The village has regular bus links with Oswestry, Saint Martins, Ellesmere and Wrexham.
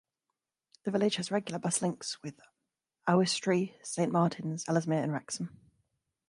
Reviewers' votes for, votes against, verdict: 2, 0, accepted